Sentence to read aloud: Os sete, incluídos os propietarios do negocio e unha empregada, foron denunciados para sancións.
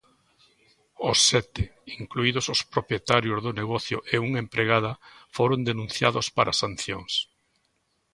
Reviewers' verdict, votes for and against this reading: accepted, 2, 0